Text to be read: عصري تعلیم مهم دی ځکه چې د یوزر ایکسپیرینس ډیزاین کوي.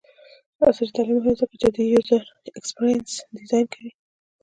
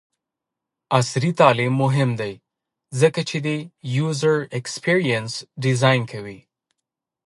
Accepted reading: second